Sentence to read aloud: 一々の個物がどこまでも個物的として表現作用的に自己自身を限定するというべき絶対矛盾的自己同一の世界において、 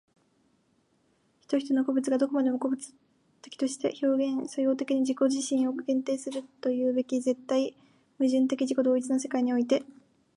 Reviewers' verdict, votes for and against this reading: accepted, 2, 0